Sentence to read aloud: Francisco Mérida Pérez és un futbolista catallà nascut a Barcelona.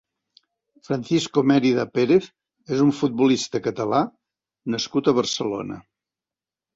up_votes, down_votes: 2, 0